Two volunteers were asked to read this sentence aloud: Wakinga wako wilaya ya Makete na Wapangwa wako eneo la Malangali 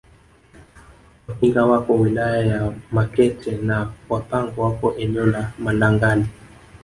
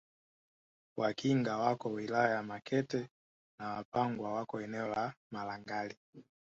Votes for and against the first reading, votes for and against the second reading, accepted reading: 1, 2, 2, 1, second